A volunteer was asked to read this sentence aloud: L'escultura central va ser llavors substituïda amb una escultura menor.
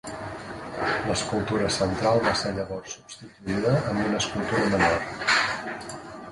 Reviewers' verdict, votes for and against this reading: rejected, 1, 2